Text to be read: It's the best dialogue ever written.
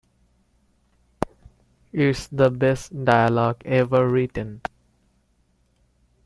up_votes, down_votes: 2, 0